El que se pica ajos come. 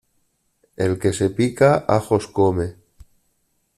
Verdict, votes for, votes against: accepted, 2, 0